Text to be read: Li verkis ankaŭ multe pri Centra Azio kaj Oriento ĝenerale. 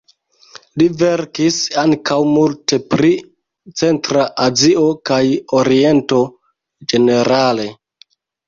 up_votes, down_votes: 2, 0